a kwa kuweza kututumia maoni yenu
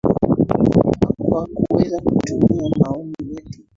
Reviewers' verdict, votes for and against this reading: rejected, 0, 2